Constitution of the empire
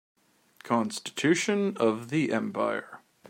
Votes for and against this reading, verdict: 2, 0, accepted